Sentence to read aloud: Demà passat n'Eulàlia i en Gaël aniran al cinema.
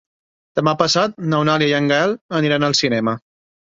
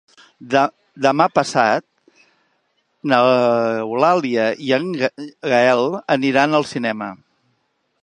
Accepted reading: first